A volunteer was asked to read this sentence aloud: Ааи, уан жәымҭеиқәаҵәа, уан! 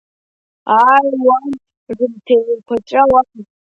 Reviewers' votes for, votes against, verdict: 0, 2, rejected